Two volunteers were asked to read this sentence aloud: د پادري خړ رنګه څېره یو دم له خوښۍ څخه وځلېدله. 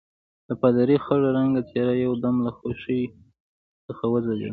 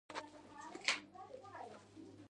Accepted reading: second